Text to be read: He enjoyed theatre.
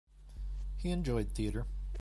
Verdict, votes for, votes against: accepted, 2, 0